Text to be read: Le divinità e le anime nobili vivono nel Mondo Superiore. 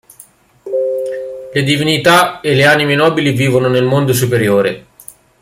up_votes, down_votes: 0, 2